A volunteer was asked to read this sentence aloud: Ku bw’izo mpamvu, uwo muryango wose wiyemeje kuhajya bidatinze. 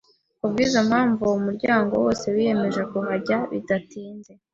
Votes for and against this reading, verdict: 2, 0, accepted